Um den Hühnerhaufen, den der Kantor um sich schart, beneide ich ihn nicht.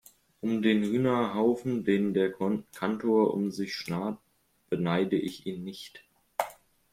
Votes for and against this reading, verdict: 0, 2, rejected